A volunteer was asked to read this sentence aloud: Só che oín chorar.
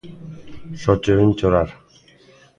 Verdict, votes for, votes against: accepted, 2, 0